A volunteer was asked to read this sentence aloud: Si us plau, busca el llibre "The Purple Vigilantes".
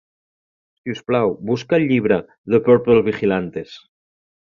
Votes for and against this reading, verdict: 2, 0, accepted